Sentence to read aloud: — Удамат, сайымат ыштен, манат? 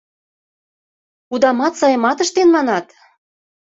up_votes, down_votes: 2, 0